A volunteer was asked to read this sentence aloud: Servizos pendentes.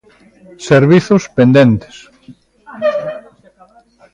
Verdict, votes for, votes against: accepted, 2, 0